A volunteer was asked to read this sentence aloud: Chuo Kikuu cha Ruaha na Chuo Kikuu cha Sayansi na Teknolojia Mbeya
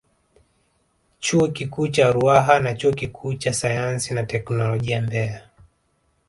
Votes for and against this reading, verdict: 1, 2, rejected